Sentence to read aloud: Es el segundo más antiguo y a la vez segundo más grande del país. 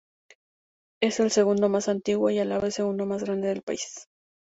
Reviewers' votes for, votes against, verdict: 2, 0, accepted